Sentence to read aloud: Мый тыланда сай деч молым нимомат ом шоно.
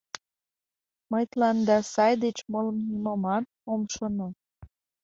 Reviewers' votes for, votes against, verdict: 2, 0, accepted